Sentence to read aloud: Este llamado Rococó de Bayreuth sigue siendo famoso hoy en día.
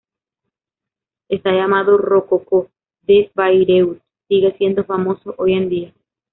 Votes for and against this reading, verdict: 0, 2, rejected